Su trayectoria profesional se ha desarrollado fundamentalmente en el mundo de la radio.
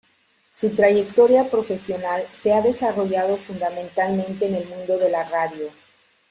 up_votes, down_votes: 2, 0